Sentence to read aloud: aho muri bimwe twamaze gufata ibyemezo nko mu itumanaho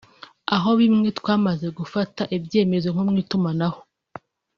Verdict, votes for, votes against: accepted, 2, 0